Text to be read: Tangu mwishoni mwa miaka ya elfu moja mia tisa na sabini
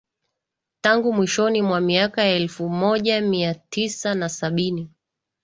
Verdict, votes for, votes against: accepted, 2, 1